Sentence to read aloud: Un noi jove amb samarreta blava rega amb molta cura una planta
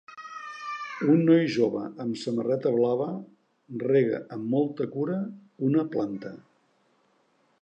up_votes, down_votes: 1, 2